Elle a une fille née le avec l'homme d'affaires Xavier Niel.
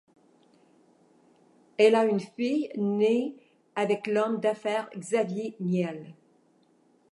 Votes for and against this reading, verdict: 0, 2, rejected